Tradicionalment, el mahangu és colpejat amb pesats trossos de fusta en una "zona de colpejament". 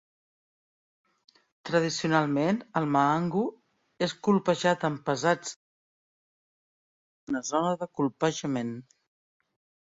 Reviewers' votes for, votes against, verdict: 0, 2, rejected